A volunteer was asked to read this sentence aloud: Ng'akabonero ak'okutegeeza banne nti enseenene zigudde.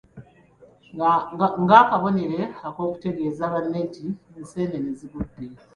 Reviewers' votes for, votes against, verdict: 2, 0, accepted